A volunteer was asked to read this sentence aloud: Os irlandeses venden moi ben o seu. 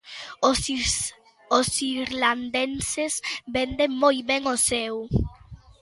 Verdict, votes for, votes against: rejected, 0, 2